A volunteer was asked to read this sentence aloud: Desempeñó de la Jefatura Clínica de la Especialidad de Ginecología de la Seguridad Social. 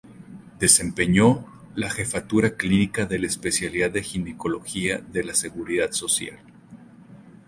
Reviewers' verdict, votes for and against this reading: accepted, 2, 0